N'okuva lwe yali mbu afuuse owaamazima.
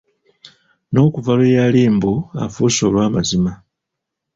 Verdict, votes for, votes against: accepted, 2, 0